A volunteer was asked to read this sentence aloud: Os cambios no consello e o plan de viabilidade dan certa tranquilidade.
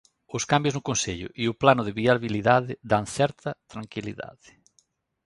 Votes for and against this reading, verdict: 1, 2, rejected